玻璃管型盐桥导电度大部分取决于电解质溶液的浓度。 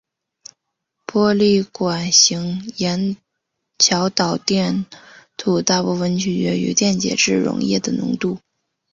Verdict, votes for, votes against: rejected, 1, 2